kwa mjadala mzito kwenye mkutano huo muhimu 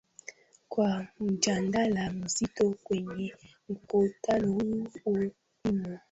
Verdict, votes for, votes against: rejected, 0, 2